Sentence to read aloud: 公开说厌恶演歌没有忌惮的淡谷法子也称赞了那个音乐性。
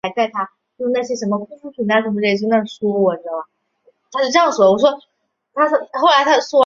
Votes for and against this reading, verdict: 1, 6, rejected